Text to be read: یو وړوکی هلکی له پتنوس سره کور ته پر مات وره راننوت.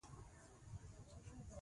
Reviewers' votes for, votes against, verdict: 2, 0, accepted